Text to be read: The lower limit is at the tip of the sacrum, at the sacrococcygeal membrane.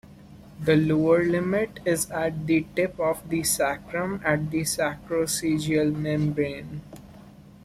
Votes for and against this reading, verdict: 2, 1, accepted